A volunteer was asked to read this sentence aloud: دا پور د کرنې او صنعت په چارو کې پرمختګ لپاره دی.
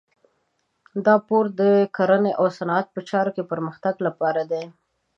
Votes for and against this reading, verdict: 2, 0, accepted